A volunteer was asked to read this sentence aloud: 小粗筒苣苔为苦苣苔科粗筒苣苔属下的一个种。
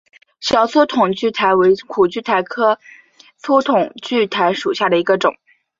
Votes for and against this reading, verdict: 2, 0, accepted